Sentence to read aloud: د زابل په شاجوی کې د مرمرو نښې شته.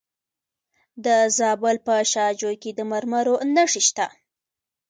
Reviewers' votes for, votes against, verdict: 0, 2, rejected